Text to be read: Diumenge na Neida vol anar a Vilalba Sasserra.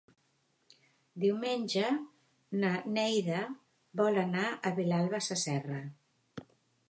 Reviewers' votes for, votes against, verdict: 2, 1, accepted